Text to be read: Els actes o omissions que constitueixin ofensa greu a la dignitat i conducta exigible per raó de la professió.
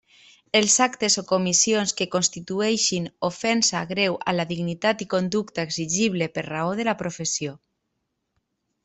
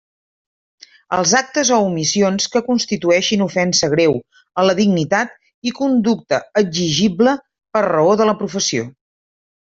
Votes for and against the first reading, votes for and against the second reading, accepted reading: 0, 2, 3, 0, second